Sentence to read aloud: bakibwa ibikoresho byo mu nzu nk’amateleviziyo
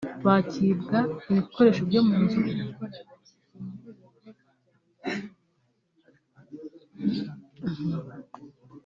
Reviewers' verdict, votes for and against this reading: rejected, 1, 2